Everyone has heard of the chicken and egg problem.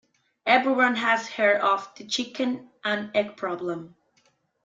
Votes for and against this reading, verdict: 2, 1, accepted